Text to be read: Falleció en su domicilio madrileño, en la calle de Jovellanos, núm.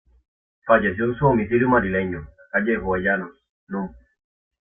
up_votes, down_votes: 0, 2